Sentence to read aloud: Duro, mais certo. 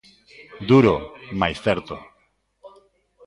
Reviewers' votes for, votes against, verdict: 1, 2, rejected